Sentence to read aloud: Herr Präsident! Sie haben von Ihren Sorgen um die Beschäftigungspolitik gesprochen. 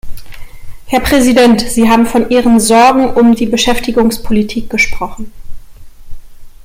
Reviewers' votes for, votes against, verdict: 2, 0, accepted